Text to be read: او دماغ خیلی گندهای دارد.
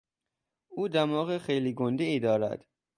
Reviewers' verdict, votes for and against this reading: accepted, 3, 0